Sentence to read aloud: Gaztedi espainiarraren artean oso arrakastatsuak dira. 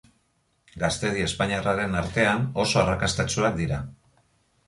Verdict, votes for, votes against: accepted, 2, 0